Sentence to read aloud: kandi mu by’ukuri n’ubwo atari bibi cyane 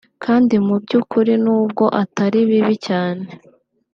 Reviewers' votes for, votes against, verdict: 2, 0, accepted